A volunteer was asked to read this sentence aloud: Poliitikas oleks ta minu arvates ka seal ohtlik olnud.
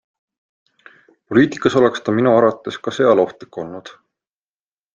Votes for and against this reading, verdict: 2, 0, accepted